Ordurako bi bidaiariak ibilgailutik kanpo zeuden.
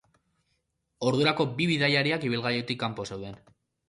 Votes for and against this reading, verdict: 2, 0, accepted